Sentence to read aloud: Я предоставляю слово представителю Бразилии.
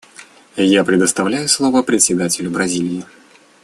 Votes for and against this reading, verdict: 1, 2, rejected